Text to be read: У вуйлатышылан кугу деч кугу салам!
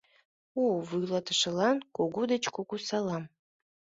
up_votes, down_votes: 2, 0